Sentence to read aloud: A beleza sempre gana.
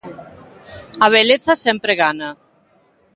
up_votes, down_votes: 2, 1